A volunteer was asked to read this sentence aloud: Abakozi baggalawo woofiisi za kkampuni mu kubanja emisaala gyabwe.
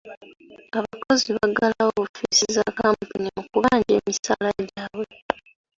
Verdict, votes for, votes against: rejected, 0, 2